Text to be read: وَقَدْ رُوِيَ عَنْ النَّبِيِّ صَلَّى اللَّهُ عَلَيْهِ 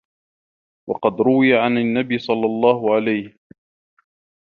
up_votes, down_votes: 2, 1